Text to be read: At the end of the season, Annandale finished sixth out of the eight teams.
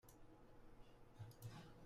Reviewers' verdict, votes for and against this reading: rejected, 1, 2